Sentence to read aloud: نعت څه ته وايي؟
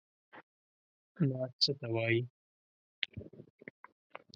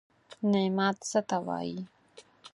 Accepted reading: first